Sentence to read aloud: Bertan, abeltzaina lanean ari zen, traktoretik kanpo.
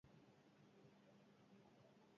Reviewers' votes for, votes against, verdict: 2, 4, rejected